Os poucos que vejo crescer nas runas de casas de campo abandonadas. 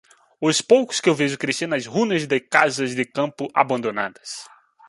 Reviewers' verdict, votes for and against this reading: rejected, 1, 2